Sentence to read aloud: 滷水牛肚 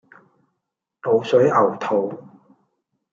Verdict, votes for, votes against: accepted, 2, 1